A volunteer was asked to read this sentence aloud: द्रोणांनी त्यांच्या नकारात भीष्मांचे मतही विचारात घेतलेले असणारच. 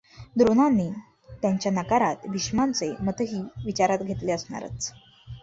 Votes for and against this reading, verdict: 1, 2, rejected